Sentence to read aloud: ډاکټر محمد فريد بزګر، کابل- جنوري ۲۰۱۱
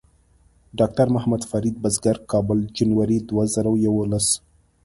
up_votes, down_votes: 0, 2